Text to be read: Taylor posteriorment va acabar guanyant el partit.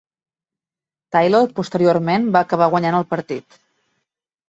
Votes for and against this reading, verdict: 4, 0, accepted